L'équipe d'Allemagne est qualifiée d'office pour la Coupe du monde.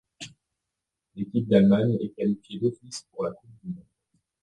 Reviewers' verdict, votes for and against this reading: rejected, 0, 2